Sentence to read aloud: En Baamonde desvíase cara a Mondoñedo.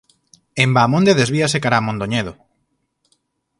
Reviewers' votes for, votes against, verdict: 4, 0, accepted